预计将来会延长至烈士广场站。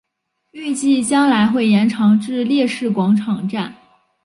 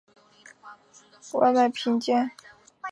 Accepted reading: first